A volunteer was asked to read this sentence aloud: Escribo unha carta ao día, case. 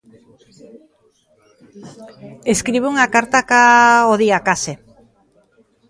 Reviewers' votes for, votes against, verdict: 0, 3, rejected